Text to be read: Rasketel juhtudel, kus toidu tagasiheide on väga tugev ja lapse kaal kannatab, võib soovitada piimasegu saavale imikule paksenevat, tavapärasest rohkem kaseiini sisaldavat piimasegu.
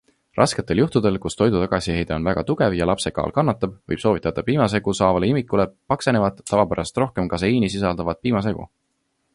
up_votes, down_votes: 2, 0